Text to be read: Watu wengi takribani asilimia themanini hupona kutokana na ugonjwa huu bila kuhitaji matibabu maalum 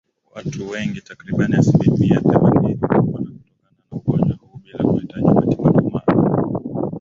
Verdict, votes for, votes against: rejected, 1, 2